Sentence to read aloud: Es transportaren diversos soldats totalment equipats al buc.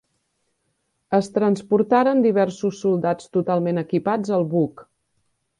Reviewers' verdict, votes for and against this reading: accepted, 4, 0